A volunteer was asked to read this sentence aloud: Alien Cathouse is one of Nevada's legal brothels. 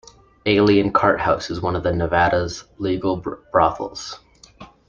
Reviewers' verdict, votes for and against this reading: rejected, 0, 2